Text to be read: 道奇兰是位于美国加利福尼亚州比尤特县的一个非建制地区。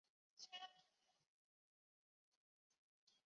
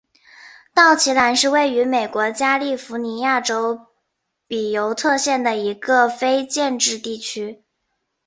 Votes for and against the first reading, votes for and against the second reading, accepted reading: 0, 3, 4, 0, second